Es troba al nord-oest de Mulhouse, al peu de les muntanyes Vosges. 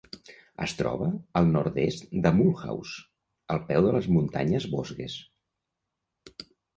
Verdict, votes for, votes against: rejected, 1, 2